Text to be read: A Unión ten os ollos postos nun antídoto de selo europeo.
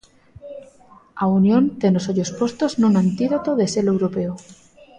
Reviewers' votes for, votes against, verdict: 1, 2, rejected